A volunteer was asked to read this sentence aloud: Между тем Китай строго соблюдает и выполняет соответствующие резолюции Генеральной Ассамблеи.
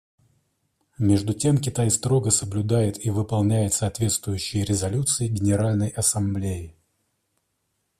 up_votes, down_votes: 2, 0